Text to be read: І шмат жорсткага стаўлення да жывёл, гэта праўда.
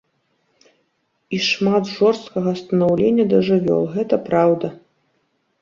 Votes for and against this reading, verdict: 0, 2, rejected